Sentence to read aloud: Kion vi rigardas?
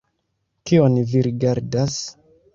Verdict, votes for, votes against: accepted, 2, 0